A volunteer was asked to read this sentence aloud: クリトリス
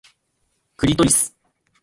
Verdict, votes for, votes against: accepted, 2, 1